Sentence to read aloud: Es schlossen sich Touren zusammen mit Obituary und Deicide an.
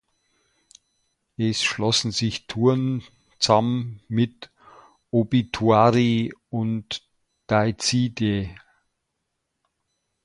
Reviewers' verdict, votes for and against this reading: rejected, 0, 2